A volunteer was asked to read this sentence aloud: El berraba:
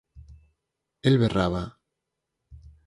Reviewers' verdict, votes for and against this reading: accepted, 4, 0